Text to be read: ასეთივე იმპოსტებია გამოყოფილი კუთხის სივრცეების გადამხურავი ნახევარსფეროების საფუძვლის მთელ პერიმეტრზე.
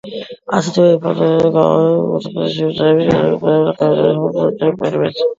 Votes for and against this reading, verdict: 2, 1, accepted